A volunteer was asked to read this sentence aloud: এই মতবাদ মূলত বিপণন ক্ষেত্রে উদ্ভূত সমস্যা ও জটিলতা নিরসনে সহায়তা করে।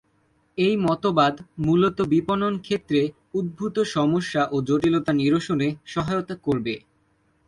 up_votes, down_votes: 1, 3